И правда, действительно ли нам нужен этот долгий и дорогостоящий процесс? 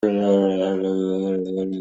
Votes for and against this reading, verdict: 0, 2, rejected